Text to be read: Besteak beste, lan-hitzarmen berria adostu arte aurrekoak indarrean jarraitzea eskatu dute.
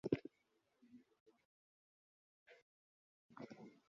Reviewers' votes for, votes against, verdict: 0, 3, rejected